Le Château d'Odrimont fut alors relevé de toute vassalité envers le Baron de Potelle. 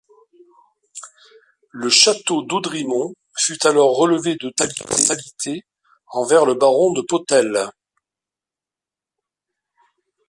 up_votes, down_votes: 1, 2